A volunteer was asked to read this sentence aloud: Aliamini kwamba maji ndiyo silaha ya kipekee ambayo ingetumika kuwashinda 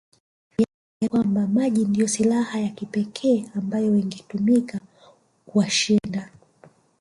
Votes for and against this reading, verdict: 1, 2, rejected